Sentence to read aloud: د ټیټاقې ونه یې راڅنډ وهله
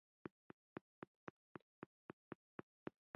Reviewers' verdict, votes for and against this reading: accepted, 2, 1